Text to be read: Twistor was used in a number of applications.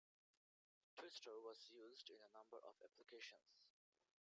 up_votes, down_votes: 1, 2